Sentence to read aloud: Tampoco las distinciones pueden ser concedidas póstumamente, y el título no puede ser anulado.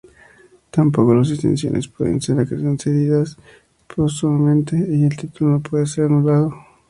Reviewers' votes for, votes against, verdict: 0, 2, rejected